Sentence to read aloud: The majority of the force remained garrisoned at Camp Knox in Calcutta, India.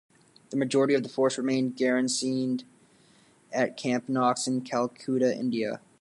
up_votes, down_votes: 0, 2